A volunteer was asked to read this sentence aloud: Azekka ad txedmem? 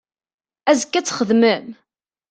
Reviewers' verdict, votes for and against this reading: accepted, 2, 0